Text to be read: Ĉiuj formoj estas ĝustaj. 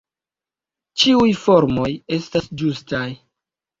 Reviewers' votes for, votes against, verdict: 1, 2, rejected